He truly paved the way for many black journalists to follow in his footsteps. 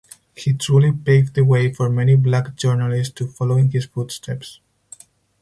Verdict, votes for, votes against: rejected, 2, 4